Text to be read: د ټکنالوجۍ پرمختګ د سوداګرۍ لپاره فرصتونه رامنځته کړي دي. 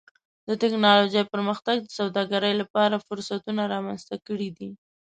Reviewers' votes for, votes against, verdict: 2, 0, accepted